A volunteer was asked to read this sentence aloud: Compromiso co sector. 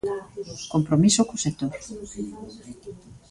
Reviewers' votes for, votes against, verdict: 1, 2, rejected